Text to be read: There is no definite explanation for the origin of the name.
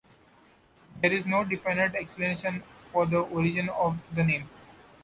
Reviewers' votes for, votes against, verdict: 2, 0, accepted